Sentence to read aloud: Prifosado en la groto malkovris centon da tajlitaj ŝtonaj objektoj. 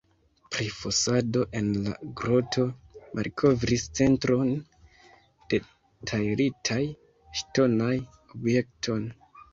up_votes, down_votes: 0, 2